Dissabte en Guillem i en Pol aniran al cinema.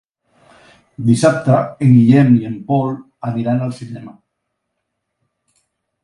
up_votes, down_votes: 3, 0